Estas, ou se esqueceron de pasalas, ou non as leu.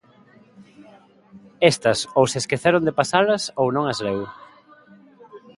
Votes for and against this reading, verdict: 2, 0, accepted